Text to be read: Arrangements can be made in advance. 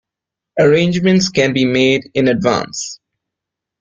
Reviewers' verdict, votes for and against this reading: accepted, 2, 0